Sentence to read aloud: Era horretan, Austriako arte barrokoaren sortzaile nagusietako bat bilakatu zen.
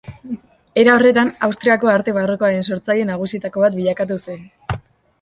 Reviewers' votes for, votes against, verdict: 2, 0, accepted